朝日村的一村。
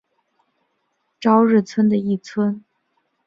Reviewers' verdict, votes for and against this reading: accepted, 5, 0